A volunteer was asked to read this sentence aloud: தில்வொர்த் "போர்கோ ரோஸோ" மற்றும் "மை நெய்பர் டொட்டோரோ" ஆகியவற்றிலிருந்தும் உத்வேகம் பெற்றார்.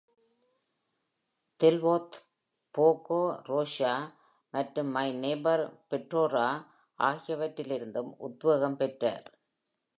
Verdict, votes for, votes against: rejected, 1, 2